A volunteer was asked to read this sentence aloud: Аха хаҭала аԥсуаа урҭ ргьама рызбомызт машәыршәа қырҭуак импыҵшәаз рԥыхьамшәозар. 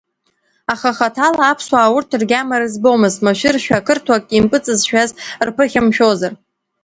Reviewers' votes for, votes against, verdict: 1, 2, rejected